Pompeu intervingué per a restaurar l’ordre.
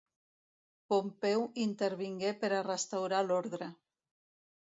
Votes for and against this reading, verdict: 2, 0, accepted